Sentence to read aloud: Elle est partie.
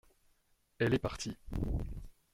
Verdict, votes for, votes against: accepted, 2, 0